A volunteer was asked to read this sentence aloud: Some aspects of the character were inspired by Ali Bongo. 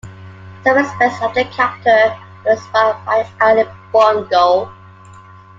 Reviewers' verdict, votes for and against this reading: rejected, 0, 2